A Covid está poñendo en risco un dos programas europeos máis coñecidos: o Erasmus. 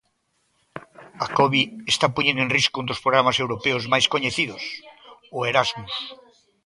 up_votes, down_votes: 2, 0